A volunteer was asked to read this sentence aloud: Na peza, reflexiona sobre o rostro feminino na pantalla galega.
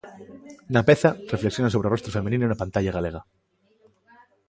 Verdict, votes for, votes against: accepted, 2, 0